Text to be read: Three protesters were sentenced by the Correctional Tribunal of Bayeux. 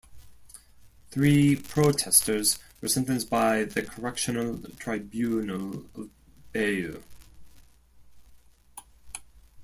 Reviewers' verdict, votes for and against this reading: rejected, 1, 2